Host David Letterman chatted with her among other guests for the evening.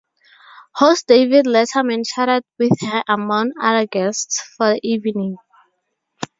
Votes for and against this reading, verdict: 0, 2, rejected